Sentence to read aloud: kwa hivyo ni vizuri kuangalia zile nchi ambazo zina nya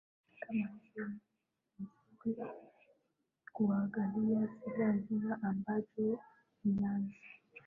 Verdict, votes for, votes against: rejected, 0, 2